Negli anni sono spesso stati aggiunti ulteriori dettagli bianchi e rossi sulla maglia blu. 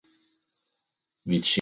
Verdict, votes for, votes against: rejected, 0, 3